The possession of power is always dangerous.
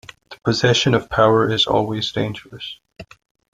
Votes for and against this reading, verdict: 2, 0, accepted